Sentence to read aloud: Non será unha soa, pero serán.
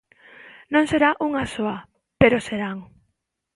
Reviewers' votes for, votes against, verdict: 2, 0, accepted